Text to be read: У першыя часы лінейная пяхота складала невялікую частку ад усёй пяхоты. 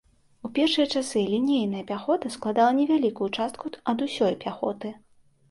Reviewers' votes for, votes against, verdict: 2, 0, accepted